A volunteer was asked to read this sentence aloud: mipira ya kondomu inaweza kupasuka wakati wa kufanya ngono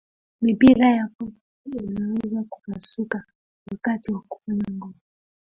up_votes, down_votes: 0, 2